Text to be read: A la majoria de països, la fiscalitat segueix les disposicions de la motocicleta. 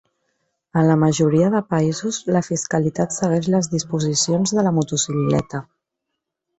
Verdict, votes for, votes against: accepted, 2, 1